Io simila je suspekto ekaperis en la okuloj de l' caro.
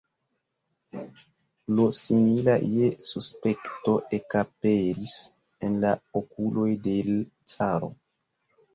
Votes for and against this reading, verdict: 0, 2, rejected